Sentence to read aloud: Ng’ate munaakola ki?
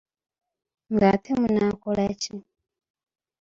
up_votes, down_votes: 2, 1